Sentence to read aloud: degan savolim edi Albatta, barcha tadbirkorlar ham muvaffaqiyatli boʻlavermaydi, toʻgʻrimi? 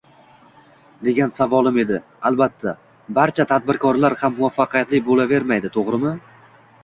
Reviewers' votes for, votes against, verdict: 0, 2, rejected